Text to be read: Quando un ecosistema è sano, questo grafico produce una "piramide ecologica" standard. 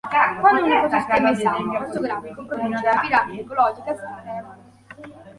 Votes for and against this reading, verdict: 0, 2, rejected